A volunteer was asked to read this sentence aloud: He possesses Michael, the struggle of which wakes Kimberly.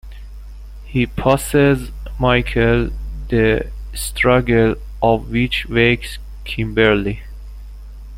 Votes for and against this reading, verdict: 1, 2, rejected